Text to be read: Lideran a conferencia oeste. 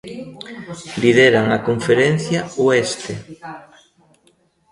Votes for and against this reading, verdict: 0, 2, rejected